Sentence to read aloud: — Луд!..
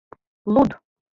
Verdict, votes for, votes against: accepted, 2, 0